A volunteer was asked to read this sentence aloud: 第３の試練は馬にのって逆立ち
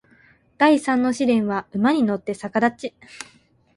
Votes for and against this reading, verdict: 0, 2, rejected